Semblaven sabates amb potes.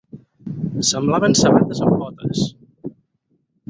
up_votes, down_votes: 0, 4